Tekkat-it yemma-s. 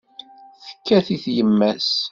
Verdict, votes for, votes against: accepted, 2, 0